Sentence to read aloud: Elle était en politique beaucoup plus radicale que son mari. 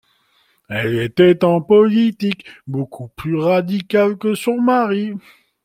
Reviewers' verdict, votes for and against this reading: rejected, 1, 2